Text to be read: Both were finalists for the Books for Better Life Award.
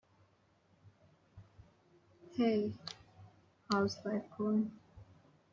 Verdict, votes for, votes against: rejected, 0, 2